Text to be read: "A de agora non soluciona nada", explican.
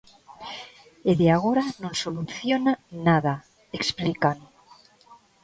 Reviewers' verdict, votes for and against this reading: rejected, 0, 2